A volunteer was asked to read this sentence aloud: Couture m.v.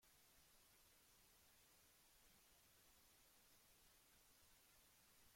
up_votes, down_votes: 0, 2